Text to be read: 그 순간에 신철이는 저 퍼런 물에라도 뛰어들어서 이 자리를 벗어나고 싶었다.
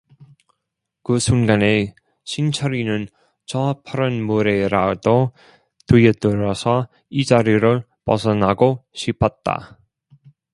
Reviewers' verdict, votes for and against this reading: rejected, 0, 2